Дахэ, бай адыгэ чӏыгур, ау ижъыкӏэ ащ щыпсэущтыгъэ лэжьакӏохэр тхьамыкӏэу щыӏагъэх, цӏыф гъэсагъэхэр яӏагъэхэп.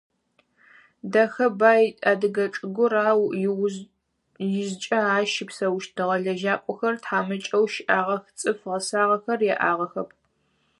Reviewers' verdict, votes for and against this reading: rejected, 2, 4